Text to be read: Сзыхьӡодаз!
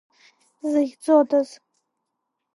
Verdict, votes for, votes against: rejected, 0, 2